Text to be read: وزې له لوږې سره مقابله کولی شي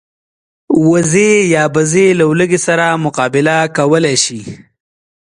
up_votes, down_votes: 2, 0